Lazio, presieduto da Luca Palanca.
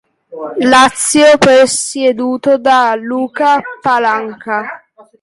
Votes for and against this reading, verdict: 0, 2, rejected